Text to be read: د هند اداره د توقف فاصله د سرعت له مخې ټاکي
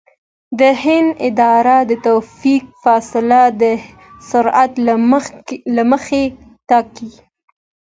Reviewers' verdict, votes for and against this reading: accepted, 2, 0